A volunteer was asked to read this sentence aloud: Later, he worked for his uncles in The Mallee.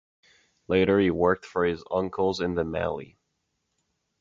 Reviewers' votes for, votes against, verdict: 2, 0, accepted